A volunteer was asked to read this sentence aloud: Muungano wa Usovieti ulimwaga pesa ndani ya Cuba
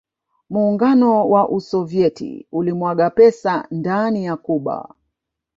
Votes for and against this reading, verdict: 5, 0, accepted